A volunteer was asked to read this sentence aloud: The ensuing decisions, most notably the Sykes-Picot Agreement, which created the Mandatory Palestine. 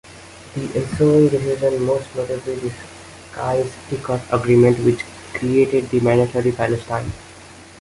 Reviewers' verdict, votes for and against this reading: rejected, 0, 2